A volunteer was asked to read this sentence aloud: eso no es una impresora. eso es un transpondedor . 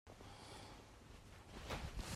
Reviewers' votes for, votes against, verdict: 0, 2, rejected